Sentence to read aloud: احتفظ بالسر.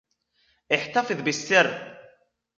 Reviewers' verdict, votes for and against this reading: accepted, 2, 0